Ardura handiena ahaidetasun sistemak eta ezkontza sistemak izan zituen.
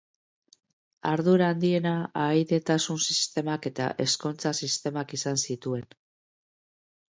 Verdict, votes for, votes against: accepted, 2, 0